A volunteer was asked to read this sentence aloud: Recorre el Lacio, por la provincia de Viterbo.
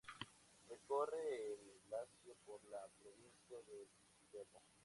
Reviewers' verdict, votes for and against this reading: accepted, 2, 0